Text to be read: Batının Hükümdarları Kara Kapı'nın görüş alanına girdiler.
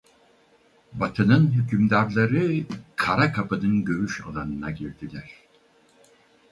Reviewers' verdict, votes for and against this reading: rejected, 2, 2